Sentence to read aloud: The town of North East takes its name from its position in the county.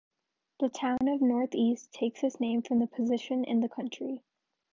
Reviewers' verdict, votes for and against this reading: accepted, 2, 1